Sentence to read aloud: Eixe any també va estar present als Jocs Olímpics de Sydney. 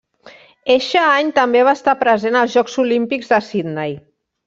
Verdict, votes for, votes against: rejected, 1, 2